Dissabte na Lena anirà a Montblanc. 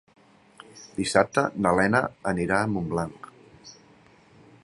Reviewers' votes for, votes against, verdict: 3, 0, accepted